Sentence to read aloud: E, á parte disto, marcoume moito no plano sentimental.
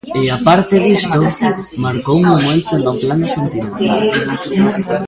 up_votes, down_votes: 1, 2